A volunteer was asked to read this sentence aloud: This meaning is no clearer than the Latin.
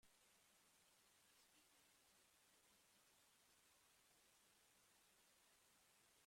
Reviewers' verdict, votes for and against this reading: rejected, 0, 2